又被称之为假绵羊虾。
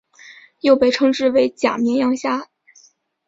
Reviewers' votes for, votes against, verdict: 4, 0, accepted